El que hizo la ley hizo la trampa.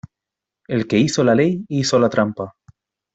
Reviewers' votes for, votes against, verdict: 2, 0, accepted